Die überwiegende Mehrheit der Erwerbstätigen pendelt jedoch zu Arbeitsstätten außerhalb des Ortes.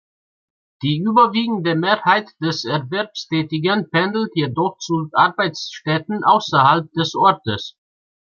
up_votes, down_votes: 1, 2